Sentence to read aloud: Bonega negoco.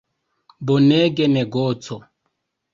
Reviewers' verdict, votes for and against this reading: rejected, 1, 2